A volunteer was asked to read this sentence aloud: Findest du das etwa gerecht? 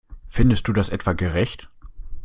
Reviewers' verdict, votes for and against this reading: accepted, 2, 0